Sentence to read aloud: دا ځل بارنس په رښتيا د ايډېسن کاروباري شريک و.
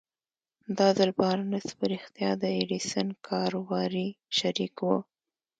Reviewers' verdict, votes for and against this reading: accepted, 2, 0